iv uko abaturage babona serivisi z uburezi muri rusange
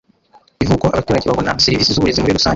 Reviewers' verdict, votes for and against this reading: rejected, 0, 2